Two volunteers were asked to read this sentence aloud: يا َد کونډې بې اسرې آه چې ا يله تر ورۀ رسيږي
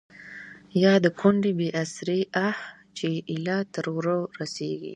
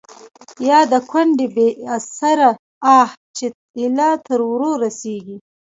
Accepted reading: second